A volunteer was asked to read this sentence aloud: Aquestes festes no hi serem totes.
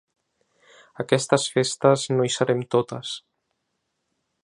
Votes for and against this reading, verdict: 2, 0, accepted